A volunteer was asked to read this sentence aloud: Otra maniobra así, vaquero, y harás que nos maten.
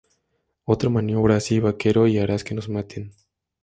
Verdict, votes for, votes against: accepted, 2, 0